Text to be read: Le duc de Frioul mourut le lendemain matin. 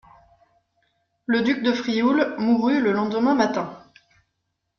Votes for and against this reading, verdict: 2, 0, accepted